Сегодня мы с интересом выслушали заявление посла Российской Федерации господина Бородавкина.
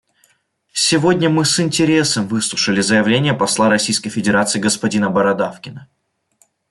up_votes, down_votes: 2, 0